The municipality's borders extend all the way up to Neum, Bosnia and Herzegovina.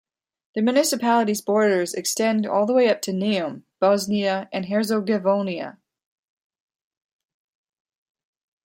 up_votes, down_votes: 1, 2